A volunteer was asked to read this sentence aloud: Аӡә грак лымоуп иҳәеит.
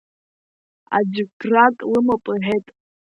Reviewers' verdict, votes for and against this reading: rejected, 1, 2